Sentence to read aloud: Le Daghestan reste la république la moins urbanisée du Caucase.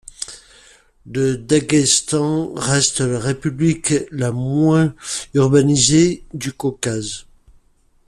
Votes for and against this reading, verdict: 2, 0, accepted